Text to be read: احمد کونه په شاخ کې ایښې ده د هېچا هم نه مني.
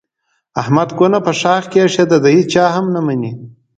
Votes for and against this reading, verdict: 2, 0, accepted